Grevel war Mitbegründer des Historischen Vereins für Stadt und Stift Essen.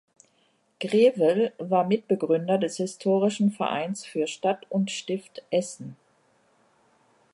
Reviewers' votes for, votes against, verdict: 2, 0, accepted